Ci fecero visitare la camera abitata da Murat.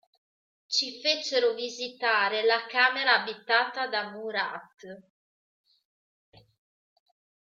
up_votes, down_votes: 0, 2